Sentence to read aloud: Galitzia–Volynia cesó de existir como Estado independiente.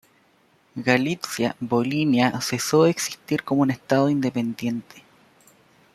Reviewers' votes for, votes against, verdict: 0, 2, rejected